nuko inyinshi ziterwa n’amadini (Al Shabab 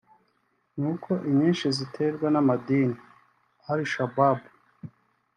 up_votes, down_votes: 3, 0